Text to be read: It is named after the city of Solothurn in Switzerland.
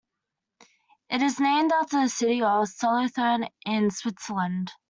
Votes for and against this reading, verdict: 2, 0, accepted